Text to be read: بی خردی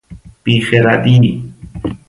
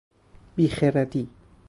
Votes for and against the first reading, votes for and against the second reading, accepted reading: 2, 0, 2, 2, first